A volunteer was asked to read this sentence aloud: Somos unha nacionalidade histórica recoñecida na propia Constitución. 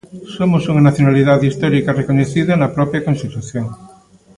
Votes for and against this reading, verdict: 1, 2, rejected